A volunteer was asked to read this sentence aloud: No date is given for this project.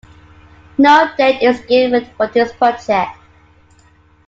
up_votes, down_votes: 2, 1